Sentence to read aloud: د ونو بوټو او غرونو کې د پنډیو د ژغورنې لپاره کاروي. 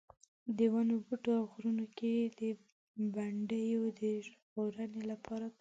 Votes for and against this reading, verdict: 0, 2, rejected